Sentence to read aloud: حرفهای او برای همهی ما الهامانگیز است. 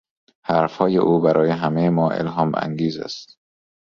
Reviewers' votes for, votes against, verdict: 3, 0, accepted